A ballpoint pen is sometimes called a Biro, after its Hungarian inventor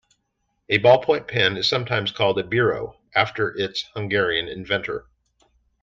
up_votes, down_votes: 2, 1